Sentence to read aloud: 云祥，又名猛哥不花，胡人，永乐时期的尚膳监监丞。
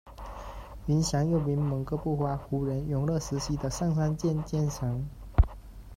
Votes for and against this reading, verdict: 2, 1, accepted